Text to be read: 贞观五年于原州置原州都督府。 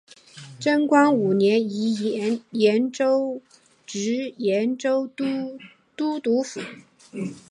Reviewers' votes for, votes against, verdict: 1, 4, rejected